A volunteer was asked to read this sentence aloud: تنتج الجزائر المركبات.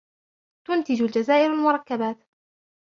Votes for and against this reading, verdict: 1, 2, rejected